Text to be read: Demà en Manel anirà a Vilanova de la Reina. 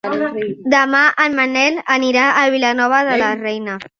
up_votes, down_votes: 3, 0